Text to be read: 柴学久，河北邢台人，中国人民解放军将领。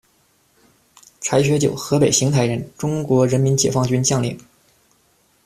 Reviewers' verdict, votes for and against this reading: accepted, 2, 1